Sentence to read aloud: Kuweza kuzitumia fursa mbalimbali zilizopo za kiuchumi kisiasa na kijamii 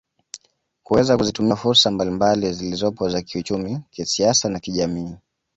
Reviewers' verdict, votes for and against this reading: accepted, 2, 0